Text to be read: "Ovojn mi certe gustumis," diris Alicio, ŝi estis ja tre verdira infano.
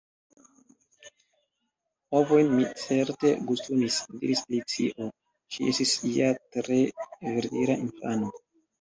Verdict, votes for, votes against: rejected, 1, 2